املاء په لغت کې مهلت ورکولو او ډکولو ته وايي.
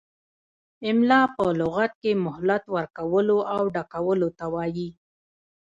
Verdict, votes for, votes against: accepted, 2, 0